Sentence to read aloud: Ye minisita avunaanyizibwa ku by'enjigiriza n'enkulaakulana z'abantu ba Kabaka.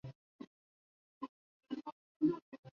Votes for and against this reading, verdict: 0, 2, rejected